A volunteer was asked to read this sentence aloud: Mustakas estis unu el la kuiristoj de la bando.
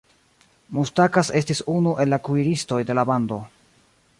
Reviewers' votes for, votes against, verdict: 1, 2, rejected